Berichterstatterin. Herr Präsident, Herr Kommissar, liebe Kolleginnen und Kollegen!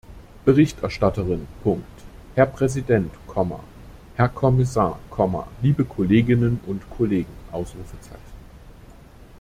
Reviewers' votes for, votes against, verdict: 0, 2, rejected